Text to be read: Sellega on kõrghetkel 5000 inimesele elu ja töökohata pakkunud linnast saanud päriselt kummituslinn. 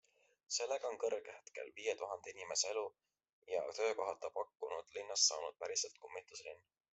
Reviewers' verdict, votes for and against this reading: rejected, 0, 2